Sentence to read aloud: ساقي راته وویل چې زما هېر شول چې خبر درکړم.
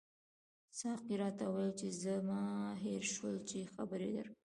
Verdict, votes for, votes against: rejected, 1, 2